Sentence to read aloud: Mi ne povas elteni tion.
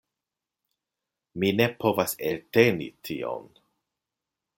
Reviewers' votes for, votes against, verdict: 2, 0, accepted